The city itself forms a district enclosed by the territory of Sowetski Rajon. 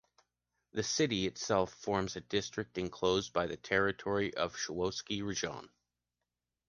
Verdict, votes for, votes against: accepted, 2, 0